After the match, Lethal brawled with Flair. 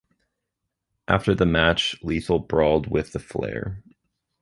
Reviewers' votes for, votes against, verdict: 2, 1, accepted